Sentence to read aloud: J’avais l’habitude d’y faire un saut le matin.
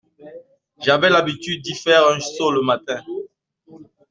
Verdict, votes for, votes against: rejected, 1, 2